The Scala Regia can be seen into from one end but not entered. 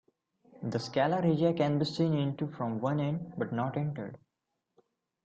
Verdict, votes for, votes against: rejected, 0, 2